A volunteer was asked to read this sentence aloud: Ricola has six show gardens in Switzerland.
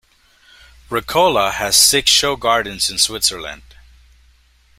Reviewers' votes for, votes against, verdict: 2, 0, accepted